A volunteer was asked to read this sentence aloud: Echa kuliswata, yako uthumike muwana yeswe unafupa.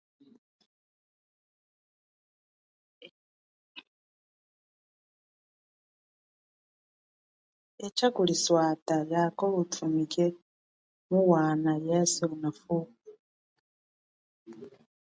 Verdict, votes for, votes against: rejected, 0, 2